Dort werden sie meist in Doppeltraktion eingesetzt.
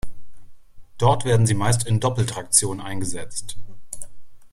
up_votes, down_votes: 2, 0